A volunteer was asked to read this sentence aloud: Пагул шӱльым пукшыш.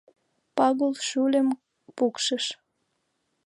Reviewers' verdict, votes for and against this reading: rejected, 0, 2